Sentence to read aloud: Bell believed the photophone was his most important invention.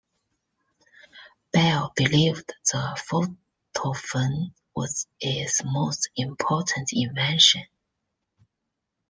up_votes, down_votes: 2, 0